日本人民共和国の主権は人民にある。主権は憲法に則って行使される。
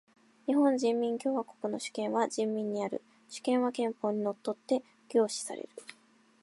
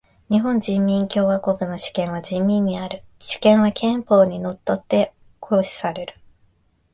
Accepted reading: second